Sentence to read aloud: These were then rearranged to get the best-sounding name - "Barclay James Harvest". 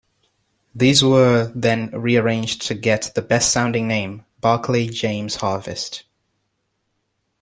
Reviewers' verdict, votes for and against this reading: accepted, 2, 0